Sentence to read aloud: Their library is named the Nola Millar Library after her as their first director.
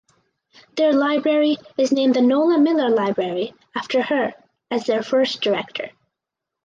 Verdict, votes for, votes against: accepted, 4, 0